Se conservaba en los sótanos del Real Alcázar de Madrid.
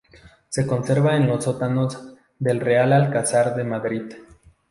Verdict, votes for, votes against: rejected, 2, 2